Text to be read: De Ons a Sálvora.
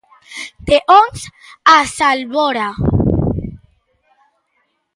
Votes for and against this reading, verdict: 0, 2, rejected